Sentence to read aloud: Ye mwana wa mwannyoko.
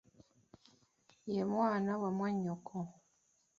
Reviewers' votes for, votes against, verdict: 3, 2, accepted